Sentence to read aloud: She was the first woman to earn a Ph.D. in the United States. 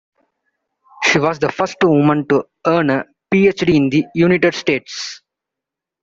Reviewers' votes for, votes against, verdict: 0, 2, rejected